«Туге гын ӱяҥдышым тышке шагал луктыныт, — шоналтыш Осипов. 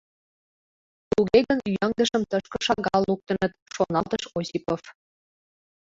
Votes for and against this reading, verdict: 0, 2, rejected